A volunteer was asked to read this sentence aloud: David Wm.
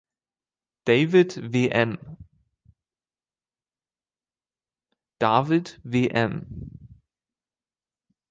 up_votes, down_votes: 1, 2